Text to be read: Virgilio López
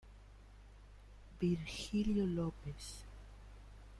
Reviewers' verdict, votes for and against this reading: rejected, 0, 2